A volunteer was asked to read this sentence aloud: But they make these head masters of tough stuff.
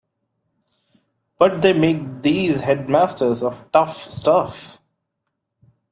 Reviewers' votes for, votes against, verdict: 2, 0, accepted